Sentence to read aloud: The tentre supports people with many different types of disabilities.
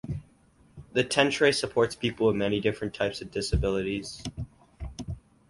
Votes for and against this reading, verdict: 4, 0, accepted